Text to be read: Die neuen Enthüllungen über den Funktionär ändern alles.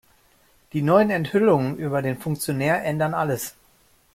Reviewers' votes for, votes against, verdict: 2, 0, accepted